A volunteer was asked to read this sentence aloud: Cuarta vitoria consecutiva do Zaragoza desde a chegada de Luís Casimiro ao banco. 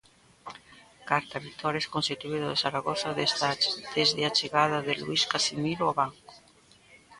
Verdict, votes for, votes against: rejected, 0, 2